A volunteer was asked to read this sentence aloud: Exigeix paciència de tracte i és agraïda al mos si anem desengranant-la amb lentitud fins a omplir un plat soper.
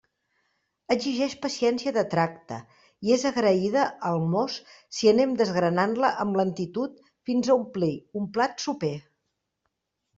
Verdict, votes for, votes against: accepted, 2, 0